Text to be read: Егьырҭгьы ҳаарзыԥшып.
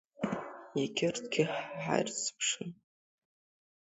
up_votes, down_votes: 0, 2